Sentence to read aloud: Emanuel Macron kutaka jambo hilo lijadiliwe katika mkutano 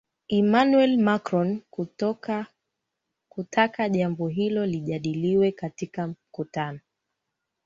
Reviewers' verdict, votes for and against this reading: rejected, 1, 2